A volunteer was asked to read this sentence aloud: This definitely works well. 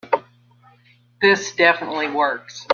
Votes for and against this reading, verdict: 0, 2, rejected